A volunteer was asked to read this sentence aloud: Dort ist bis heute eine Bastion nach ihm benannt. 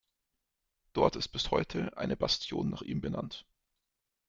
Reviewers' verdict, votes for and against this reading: accepted, 2, 0